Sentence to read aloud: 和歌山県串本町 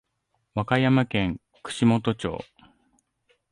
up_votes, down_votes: 2, 0